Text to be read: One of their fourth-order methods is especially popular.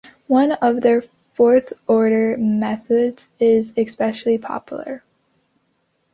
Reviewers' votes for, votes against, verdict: 2, 0, accepted